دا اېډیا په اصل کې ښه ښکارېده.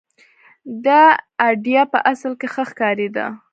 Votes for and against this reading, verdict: 0, 2, rejected